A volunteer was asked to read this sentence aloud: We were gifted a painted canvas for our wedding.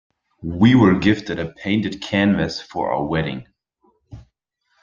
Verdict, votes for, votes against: accepted, 2, 0